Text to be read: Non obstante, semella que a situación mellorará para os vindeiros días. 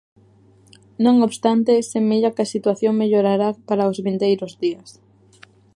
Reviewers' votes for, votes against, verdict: 2, 0, accepted